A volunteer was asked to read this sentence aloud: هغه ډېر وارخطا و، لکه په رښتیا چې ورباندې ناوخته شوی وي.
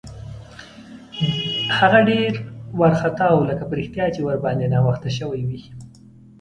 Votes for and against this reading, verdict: 2, 1, accepted